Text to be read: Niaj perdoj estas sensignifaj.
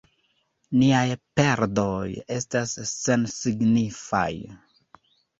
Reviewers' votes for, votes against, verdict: 1, 2, rejected